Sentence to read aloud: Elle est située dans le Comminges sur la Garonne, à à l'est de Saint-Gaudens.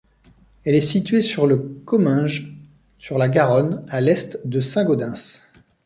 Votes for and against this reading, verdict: 1, 2, rejected